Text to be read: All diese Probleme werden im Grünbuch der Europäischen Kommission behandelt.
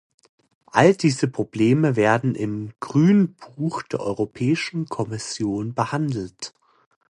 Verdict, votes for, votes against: accepted, 2, 0